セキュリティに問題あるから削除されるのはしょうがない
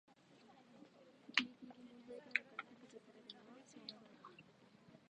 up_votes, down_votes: 0, 2